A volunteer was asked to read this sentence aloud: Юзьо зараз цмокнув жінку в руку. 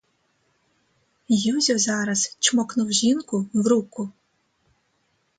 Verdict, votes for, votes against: rejected, 0, 2